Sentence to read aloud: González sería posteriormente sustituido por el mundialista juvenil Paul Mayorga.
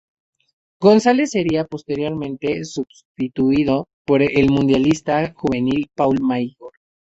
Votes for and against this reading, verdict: 2, 2, rejected